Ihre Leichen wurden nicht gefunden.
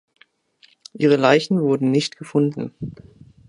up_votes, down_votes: 2, 0